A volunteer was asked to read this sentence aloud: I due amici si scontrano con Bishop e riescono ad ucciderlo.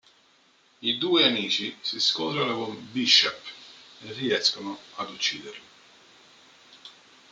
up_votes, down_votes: 2, 1